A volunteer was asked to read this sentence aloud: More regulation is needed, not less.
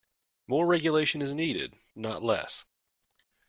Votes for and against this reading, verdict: 2, 0, accepted